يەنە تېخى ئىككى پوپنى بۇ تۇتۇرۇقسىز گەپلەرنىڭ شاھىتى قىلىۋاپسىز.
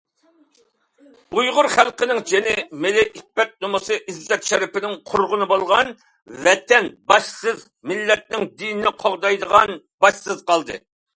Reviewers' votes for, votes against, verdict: 0, 2, rejected